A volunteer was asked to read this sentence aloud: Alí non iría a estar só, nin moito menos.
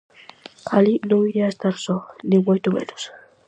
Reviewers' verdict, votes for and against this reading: accepted, 4, 0